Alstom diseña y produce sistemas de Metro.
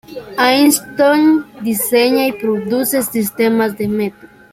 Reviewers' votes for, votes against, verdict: 0, 2, rejected